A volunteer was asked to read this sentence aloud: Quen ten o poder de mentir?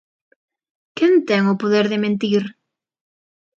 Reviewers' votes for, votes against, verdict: 2, 0, accepted